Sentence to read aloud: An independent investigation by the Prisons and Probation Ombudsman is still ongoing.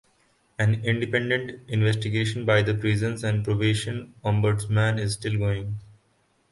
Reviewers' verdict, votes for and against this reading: accepted, 2, 0